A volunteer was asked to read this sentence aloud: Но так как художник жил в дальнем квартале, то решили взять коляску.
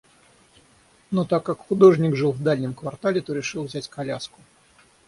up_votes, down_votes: 3, 6